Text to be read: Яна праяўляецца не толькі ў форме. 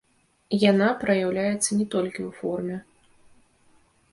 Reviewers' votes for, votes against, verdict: 0, 2, rejected